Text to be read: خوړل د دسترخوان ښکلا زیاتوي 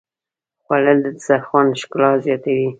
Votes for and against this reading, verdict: 1, 2, rejected